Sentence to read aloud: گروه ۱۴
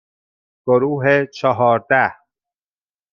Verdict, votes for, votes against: rejected, 0, 2